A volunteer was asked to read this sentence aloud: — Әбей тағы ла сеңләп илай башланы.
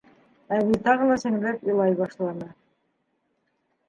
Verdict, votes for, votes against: accepted, 2, 1